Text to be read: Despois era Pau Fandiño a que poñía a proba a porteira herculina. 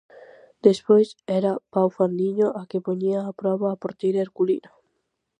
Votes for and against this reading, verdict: 4, 0, accepted